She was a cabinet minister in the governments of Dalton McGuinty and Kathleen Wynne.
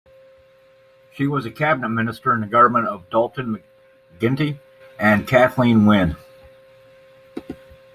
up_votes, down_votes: 0, 2